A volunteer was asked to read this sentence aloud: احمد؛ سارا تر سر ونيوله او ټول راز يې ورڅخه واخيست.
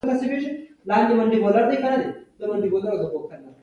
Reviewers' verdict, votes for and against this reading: rejected, 1, 2